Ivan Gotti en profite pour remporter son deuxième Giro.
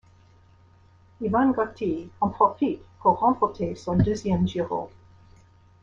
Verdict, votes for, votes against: rejected, 0, 2